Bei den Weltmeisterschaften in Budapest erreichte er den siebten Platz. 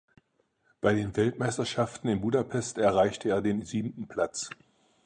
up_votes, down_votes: 4, 0